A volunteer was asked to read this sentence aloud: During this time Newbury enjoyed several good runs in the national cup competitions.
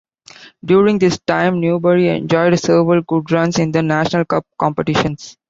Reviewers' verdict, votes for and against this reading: accepted, 2, 0